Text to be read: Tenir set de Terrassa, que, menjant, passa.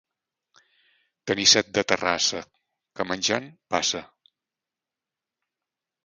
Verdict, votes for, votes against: accepted, 2, 0